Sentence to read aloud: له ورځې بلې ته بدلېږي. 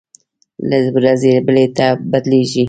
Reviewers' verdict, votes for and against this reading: accepted, 2, 0